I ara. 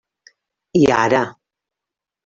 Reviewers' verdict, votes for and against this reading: rejected, 1, 2